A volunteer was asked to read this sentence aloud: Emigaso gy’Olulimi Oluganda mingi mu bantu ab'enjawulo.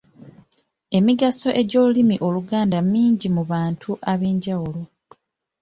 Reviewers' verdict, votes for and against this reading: accepted, 2, 1